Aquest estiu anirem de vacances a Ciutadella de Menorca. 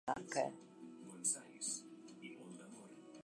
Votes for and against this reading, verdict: 1, 2, rejected